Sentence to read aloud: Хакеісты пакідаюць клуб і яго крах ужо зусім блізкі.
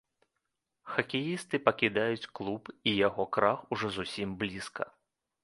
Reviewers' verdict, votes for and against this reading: rejected, 1, 2